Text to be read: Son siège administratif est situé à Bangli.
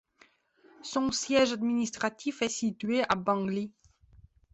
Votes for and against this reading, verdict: 2, 0, accepted